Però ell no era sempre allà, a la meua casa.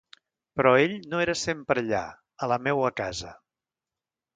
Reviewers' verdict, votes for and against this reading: accepted, 2, 0